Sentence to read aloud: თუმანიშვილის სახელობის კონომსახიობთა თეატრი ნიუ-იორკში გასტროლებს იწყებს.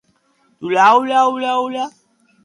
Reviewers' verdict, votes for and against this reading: rejected, 0, 2